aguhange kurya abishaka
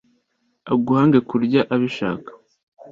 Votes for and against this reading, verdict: 2, 0, accepted